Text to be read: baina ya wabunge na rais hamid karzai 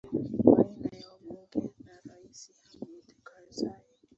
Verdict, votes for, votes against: rejected, 0, 2